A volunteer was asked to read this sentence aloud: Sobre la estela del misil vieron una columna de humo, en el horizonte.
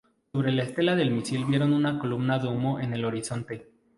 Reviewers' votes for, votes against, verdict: 2, 0, accepted